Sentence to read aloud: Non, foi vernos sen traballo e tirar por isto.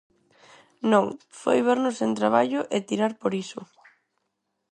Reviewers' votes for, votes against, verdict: 0, 4, rejected